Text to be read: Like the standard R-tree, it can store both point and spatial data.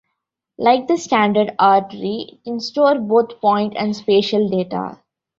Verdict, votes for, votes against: rejected, 1, 2